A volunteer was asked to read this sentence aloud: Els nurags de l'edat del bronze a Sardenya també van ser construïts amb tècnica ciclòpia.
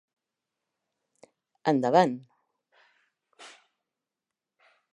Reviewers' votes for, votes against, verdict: 0, 2, rejected